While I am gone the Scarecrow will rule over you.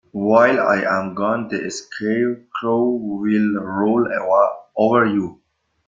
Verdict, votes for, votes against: rejected, 0, 2